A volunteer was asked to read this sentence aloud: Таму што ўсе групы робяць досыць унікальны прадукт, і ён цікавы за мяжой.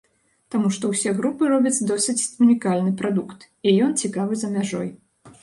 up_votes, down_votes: 2, 0